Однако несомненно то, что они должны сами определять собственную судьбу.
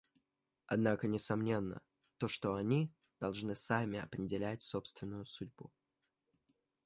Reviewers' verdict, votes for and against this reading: accepted, 2, 0